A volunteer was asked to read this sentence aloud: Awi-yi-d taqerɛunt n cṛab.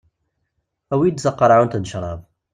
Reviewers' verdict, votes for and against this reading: accepted, 2, 0